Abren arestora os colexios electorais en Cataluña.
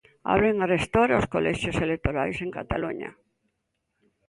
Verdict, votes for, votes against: accepted, 2, 0